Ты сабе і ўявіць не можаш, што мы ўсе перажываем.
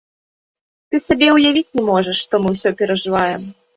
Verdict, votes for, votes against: rejected, 1, 2